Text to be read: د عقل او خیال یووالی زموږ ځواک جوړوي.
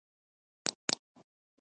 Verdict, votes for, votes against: rejected, 0, 2